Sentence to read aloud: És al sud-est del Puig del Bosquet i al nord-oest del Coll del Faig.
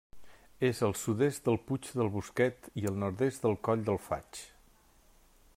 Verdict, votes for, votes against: rejected, 1, 2